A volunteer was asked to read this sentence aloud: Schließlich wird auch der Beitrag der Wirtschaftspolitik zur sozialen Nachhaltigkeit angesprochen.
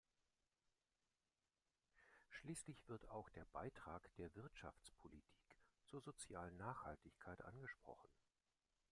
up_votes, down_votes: 2, 1